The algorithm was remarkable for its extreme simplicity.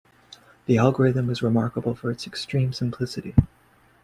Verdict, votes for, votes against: accepted, 2, 1